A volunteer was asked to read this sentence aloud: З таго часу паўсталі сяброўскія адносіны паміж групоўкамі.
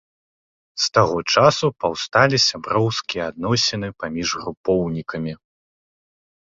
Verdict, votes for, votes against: rejected, 0, 2